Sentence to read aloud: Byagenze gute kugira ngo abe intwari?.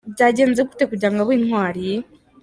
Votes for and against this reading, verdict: 2, 0, accepted